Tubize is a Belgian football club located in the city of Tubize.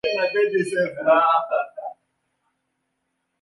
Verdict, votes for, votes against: rejected, 0, 2